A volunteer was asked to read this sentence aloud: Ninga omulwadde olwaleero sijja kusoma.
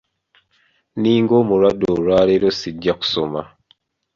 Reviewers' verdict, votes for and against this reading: accepted, 2, 0